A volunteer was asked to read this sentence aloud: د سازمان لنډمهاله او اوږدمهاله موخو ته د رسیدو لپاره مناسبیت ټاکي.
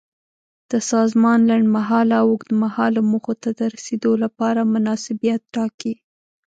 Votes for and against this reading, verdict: 2, 0, accepted